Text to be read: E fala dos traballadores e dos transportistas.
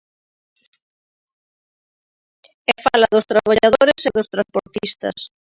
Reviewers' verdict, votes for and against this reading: rejected, 0, 2